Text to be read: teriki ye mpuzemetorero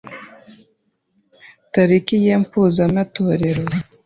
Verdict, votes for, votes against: rejected, 0, 2